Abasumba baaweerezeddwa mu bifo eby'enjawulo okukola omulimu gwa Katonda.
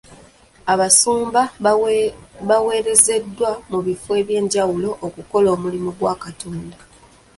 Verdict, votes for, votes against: rejected, 0, 2